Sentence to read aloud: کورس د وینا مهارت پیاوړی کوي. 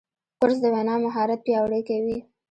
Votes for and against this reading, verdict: 0, 2, rejected